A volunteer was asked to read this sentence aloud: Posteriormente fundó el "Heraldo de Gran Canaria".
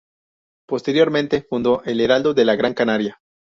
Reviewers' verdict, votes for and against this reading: rejected, 0, 2